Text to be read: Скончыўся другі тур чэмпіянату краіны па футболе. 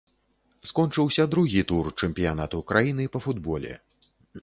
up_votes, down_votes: 2, 0